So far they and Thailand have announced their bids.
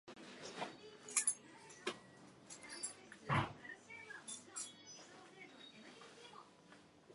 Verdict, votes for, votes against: rejected, 0, 2